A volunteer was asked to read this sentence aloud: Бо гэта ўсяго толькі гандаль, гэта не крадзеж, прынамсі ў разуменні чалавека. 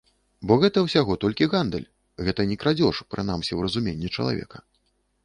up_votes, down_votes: 1, 2